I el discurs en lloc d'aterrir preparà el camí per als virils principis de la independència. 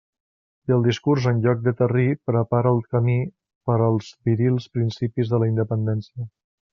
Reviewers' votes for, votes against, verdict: 1, 2, rejected